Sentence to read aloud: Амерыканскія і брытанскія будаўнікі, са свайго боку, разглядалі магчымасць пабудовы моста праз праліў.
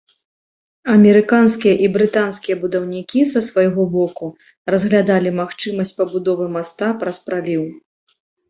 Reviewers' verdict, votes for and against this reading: rejected, 1, 2